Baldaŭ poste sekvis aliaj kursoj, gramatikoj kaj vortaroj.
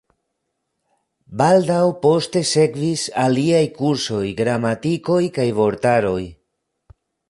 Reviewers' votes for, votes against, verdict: 1, 2, rejected